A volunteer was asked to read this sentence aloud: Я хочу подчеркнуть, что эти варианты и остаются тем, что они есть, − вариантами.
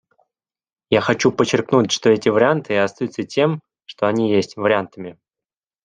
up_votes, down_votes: 2, 0